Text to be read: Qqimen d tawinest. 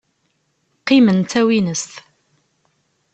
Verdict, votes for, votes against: accepted, 2, 0